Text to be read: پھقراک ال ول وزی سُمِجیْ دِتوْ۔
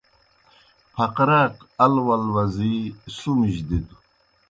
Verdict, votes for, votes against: accepted, 2, 0